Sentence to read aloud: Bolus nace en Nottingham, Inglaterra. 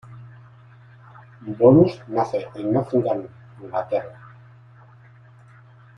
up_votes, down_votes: 1, 2